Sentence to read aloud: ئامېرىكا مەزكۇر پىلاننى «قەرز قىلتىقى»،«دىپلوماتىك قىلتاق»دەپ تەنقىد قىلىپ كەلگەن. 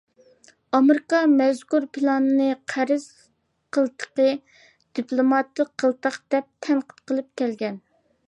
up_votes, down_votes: 2, 0